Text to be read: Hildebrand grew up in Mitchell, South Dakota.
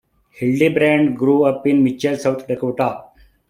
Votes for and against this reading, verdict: 2, 1, accepted